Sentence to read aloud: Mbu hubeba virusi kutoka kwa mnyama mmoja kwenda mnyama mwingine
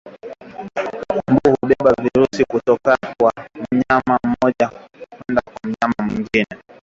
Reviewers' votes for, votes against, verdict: 0, 2, rejected